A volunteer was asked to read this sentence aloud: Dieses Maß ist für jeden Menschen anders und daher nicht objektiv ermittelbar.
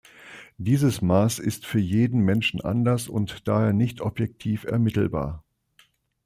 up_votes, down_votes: 2, 0